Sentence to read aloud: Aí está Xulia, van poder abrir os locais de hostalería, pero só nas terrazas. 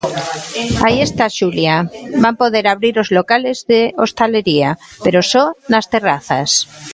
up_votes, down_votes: 0, 3